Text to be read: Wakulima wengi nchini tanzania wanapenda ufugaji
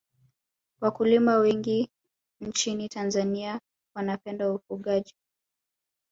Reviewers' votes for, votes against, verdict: 6, 0, accepted